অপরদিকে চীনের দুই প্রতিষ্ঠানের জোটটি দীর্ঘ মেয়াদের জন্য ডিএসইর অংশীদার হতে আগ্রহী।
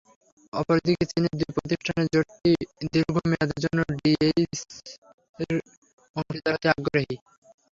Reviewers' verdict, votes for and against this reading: rejected, 0, 6